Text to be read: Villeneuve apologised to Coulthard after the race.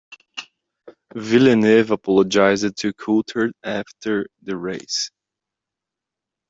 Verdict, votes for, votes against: rejected, 1, 2